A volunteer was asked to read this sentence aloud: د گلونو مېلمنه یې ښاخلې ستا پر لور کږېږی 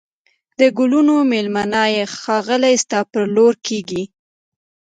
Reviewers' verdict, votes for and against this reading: accepted, 2, 0